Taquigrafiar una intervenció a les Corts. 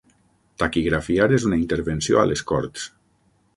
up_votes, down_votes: 0, 6